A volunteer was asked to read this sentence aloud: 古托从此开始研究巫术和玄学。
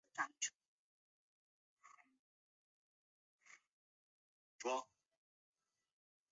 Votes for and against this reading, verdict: 0, 2, rejected